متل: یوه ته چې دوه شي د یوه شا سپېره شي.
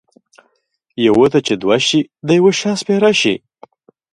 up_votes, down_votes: 2, 0